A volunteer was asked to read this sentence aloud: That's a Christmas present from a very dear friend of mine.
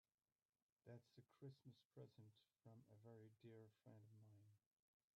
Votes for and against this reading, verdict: 0, 2, rejected